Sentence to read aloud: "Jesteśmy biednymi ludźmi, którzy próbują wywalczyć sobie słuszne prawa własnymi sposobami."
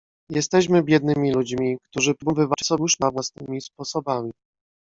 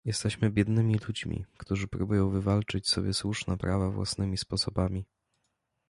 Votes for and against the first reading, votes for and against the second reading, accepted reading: 0, 2, 2, 0, second